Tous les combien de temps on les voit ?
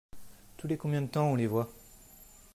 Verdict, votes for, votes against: accepted, 2, 0